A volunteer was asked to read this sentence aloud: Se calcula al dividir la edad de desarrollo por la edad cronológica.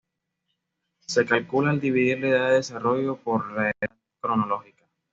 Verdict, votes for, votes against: accepted, 2, 0